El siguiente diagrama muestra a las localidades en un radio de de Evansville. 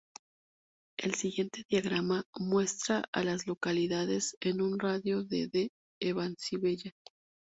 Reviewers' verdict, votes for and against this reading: accepted, 2, 0